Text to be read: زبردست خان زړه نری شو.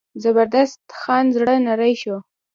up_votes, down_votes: 1, 2